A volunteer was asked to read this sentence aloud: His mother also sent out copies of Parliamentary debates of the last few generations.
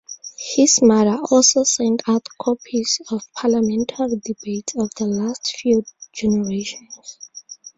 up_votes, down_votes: 0, 2